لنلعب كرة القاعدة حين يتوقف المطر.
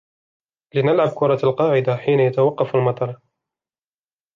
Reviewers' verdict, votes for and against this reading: accepted, 2, 0